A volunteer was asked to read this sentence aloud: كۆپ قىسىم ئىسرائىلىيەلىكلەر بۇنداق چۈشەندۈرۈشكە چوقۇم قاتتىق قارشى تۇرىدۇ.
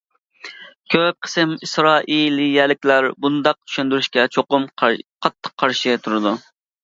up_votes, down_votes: 1, 2